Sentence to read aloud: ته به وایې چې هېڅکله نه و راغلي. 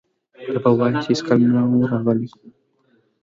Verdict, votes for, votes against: accepted, 2, 1